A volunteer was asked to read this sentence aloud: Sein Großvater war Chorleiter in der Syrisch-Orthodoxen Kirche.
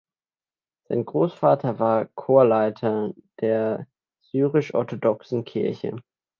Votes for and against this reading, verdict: 0, 2, rejected